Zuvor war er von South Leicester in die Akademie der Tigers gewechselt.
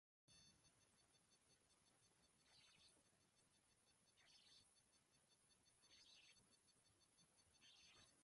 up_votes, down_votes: 0, 2